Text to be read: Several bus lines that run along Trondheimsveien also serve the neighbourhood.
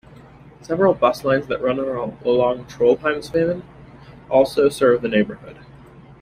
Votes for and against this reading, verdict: 2, 0, accepted